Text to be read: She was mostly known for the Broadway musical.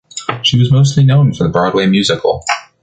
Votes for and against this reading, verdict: 1, 2, rejected